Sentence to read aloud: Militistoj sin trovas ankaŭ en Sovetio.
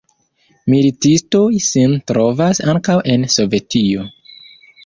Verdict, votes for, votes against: rejected, 1, 2